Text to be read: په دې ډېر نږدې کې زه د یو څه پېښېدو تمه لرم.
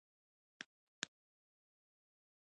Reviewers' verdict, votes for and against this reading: rejected, 0, 2